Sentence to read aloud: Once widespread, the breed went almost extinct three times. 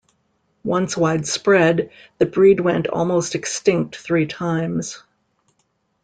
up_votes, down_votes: 2, 0